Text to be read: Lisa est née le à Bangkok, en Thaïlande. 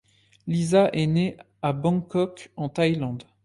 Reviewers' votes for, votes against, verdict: 1, 2, rejected